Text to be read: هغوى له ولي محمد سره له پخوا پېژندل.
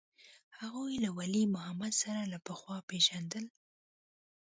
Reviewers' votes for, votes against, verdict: 1, 2, rejected